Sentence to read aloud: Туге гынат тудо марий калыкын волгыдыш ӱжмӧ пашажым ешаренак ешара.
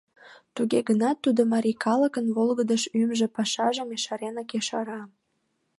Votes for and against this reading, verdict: 2, 1, accepted